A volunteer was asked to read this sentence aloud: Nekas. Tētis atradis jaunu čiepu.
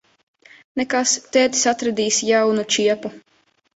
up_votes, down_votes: 1, 2